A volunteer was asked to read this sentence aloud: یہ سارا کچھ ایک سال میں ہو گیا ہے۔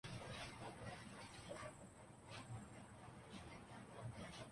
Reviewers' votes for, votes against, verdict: 0, 2, rejected